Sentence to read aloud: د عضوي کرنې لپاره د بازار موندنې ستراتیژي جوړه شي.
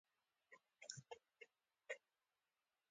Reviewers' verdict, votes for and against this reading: accepted, 2, 1